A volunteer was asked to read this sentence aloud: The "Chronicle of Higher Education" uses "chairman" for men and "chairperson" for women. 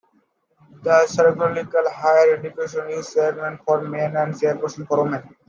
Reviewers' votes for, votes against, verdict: 0, 2, rejected